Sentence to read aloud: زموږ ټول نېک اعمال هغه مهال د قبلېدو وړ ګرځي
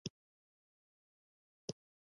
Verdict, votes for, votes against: rejected, 1, 2